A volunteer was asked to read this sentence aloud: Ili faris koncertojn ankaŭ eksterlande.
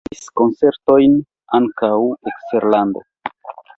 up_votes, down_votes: 0, 2